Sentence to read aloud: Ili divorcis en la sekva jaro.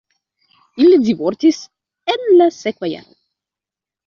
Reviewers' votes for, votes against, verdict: 0, 2, rejected